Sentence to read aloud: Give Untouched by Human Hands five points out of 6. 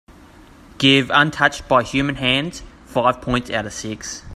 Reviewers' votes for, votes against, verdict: 0, 2, rejected